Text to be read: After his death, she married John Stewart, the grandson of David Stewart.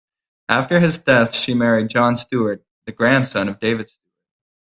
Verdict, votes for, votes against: rejected, 0, 2